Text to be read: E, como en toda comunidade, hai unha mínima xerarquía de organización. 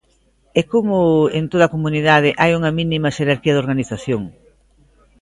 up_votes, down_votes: 1, 2